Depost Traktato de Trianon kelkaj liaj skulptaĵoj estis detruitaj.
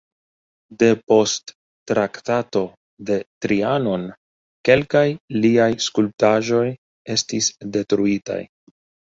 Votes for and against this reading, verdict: 2, 0, accepted